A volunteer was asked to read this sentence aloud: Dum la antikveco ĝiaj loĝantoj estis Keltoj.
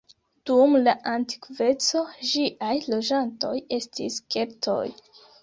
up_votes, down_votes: 0, 2